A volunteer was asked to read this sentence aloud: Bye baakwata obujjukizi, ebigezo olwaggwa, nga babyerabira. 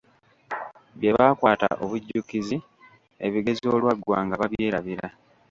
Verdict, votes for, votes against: rejected, 0, 2